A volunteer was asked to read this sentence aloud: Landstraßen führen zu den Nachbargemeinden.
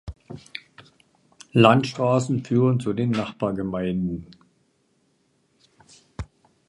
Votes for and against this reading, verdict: 2, 0, accepted